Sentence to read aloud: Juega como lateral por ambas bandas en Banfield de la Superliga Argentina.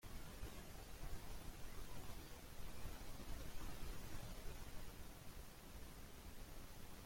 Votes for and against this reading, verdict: 1, 2, rejected